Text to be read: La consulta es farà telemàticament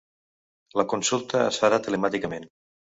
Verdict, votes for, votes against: accepted, 3, 0